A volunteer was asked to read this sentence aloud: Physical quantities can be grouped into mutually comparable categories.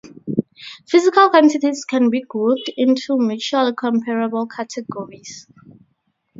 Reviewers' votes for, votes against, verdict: 4, 0, accepted